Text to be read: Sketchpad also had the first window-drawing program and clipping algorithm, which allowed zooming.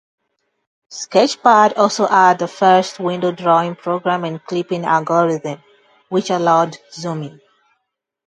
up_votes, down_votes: 2, 0